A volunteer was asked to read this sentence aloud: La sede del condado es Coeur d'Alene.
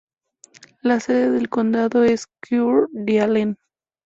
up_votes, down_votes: 2, 0